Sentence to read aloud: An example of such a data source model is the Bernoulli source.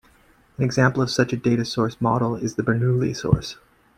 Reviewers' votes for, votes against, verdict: 1, 2, rejected